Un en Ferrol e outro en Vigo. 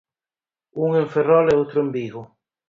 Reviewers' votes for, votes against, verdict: 4, 0, accepted